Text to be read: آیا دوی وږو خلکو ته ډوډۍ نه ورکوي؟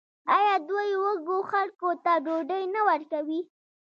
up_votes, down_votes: 1, 2